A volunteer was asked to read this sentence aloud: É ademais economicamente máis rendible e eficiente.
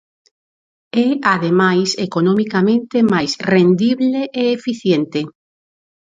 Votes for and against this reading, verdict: 4, 0, accepted